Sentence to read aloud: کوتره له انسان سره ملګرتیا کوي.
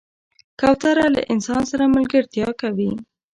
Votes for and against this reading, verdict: 2, 0, accepted